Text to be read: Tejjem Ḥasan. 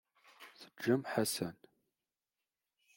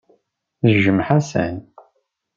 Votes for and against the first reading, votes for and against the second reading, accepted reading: 1, 2, 2, 0, second